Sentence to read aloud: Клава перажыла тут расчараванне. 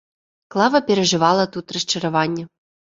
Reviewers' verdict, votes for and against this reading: rejected, 1, 2